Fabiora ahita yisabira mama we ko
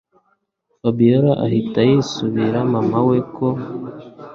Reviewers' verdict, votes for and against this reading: accepted, 2, 0